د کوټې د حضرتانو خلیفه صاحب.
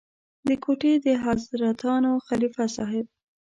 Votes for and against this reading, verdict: 0, 2, rejected